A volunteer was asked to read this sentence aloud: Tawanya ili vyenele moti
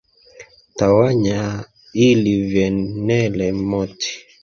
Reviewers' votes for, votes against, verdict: 1, 2, rejected